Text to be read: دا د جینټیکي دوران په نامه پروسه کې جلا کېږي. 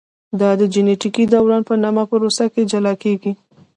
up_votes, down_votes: 2, 0